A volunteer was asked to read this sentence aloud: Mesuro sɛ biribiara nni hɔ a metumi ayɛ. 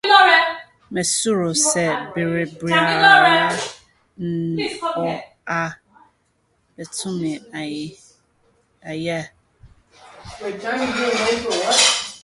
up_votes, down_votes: 0, 2